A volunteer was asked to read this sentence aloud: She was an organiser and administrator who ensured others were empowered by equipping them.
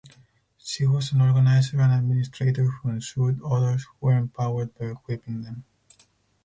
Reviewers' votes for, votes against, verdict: 0, 4, rejected